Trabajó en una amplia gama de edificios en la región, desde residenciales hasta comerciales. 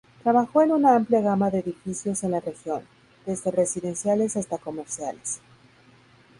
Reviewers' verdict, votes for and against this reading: rejected, 2, 2